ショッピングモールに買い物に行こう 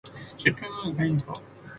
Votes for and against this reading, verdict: 0, 2, rejected